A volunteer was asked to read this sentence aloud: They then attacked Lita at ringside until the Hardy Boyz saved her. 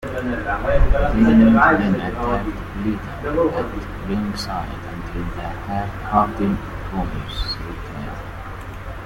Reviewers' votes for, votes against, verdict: 0, 2, rejected